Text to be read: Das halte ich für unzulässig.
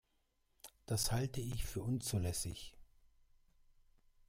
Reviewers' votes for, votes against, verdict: 2, 0, accepted